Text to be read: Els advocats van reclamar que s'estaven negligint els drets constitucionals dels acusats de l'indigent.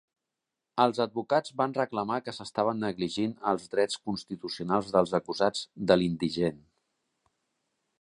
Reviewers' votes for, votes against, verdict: 3, 0, accepted